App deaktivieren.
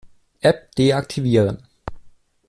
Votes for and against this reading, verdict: 2, 0, accepted